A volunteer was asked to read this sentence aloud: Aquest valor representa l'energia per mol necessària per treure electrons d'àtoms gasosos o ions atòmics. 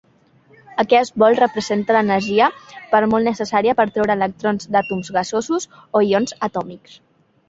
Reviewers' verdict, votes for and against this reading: rejected, 0, 2